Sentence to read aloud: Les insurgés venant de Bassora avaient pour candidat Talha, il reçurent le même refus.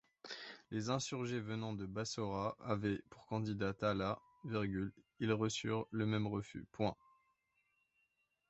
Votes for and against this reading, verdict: 0, 2, rejected